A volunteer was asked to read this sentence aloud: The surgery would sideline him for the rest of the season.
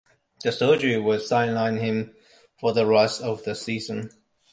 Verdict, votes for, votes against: accepted, 2, 0